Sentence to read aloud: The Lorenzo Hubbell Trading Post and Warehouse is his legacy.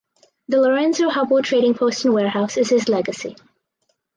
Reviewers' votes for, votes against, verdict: 4, 0, accepted